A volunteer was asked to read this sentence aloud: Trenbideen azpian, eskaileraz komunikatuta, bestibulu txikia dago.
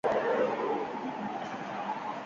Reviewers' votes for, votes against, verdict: 0, 2, rejected